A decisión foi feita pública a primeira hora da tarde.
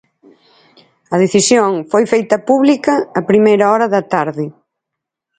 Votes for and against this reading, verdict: 4, 0, accepted